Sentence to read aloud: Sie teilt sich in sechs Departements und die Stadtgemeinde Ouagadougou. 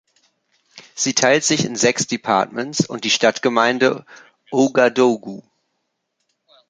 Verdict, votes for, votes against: accepted, 3, 1